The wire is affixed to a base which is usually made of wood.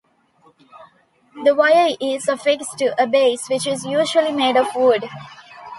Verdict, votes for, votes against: accepted, 2, 1